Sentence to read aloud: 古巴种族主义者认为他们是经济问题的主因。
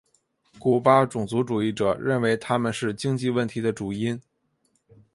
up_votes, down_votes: 3, 0